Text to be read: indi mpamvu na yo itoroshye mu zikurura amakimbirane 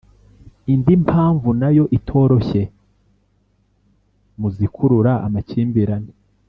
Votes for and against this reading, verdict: 2, 0, accepted